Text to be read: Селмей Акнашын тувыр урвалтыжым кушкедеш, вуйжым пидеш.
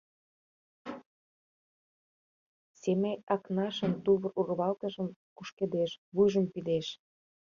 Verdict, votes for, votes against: rejected, 1, 2